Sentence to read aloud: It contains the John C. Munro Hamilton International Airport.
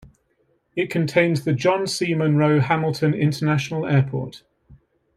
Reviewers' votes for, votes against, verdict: 2, 1, accepted